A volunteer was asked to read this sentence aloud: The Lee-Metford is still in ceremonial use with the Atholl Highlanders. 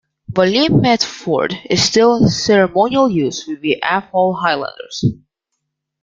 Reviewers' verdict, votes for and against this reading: rejected, 1, 2